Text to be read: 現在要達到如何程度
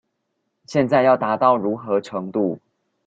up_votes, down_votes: 2, 0